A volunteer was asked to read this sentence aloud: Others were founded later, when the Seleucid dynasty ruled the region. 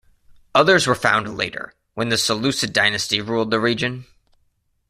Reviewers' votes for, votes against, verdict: 2, 0, accepted